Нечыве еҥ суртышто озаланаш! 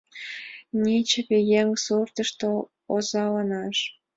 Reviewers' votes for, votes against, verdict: 2, 0, accepted